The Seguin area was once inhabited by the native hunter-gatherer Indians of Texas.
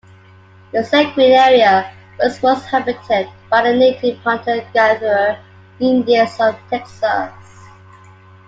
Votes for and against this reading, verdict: 2, 0, accepted